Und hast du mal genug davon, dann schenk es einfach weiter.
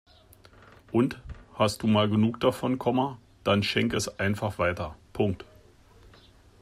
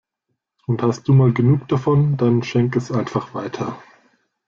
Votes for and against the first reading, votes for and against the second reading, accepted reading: 0, 2, 2, 0, second